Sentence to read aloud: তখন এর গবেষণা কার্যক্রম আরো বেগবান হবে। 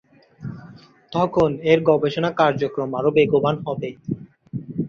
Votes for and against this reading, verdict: 2, 0, accepted